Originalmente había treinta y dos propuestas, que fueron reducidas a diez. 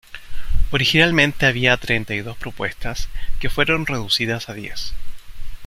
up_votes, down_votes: 2, 0